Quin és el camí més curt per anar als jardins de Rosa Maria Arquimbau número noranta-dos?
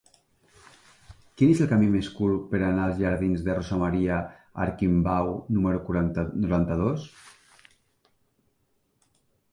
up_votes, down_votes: 1, 2